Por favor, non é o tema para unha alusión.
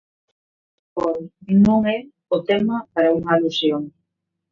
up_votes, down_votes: 0, 2